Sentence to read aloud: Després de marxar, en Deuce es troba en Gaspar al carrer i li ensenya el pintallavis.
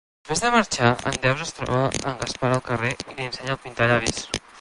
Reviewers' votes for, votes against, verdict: 1, 2, rejected